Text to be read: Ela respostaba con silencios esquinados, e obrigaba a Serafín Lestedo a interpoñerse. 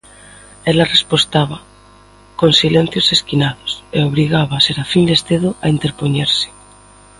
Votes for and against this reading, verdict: 2, 0, accepted